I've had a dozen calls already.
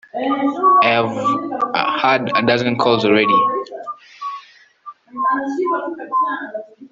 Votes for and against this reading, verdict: 1, 2, rejected